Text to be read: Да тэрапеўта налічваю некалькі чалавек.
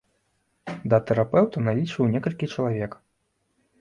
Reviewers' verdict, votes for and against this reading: accepted, 2, 0